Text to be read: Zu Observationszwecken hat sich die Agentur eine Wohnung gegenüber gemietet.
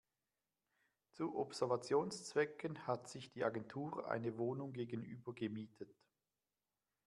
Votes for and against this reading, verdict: 0, 2, rejected